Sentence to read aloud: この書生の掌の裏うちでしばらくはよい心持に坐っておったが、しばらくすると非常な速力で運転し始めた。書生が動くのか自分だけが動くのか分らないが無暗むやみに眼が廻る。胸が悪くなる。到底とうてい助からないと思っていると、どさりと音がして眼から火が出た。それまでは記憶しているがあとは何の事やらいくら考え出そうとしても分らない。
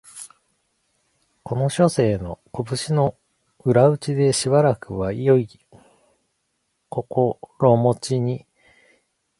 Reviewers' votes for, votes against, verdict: 1, 2, rejected